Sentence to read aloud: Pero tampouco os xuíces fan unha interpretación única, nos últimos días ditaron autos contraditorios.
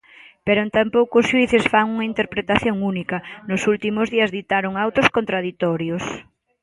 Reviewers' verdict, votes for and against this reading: accepted, 2, 0